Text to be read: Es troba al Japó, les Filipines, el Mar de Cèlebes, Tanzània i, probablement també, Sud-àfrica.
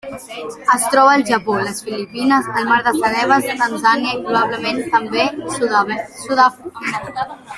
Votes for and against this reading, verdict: 0, 2, rejected